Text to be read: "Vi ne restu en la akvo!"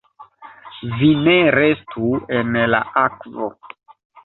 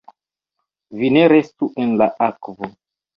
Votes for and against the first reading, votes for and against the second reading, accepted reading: 2, 0, 1, 2, first